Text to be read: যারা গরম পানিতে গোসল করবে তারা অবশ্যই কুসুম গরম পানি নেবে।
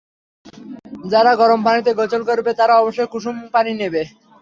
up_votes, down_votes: 0, 3